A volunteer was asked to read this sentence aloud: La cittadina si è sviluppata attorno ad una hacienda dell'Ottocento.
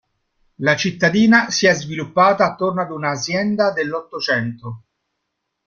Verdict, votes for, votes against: rejected, 1, 2